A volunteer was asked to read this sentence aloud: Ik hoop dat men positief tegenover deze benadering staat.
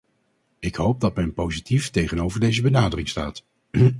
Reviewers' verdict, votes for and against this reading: rejected, 2, 2